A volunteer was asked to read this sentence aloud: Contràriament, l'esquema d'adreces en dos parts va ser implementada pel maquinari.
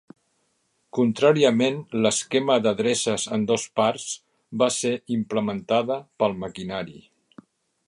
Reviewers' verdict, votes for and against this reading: accepted, 3, 0